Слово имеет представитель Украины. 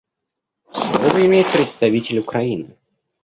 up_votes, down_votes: 0, 2